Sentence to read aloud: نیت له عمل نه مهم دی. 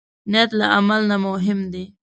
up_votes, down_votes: 2, 0